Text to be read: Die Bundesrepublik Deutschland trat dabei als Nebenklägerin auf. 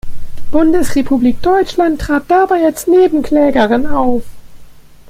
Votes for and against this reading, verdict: 0, 2, rejected